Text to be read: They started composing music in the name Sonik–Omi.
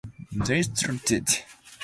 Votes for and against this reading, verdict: 0, 2, rejected